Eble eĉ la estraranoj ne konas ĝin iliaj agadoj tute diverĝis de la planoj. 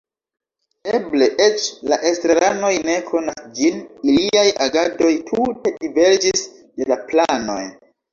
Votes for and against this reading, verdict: 0, 2, rejected